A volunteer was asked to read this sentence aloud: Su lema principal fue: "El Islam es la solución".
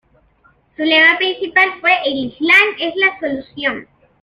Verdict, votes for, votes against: accepted, 2, 0